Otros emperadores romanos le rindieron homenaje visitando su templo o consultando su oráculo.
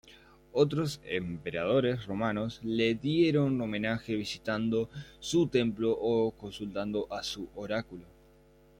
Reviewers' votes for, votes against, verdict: 0, 2, rejected